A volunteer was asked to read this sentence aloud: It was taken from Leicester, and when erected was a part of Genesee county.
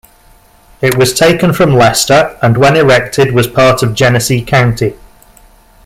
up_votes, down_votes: 1, 2